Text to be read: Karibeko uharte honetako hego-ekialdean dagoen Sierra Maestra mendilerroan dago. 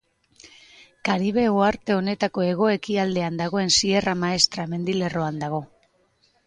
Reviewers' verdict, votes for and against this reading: rejected, 0, 2